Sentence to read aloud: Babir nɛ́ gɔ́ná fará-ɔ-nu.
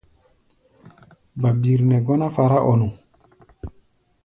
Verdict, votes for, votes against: rejected, 1, 2